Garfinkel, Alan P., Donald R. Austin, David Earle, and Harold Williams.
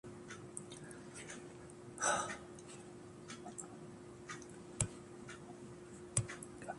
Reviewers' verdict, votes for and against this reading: rejected, 1, 2